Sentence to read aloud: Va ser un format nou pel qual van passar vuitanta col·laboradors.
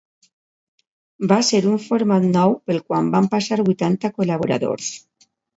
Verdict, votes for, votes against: rejected, 1, 2